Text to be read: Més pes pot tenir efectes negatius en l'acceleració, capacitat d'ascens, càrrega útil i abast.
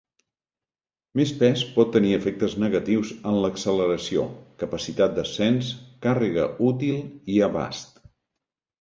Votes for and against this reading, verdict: 2, 0, accepted